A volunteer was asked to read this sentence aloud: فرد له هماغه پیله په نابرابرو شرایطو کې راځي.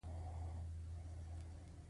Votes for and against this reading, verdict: 2, 1, accepted